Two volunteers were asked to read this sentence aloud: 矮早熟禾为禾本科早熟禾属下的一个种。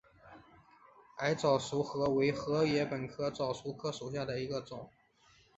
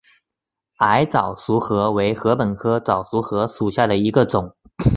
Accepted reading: second